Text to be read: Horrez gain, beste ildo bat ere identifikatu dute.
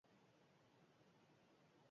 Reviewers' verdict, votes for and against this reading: rejected, 0, 4